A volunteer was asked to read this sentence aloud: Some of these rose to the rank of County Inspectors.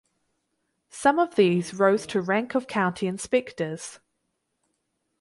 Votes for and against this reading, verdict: 0, 4, rejected